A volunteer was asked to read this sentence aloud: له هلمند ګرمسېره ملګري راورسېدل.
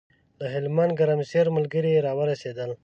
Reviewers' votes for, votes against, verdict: 2, 0, accepted